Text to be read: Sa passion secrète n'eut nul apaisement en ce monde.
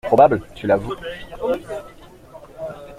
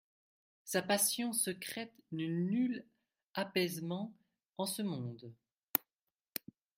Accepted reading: second